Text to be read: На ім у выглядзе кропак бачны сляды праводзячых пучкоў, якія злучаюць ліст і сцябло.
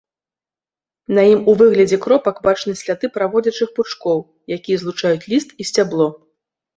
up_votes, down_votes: 2, 0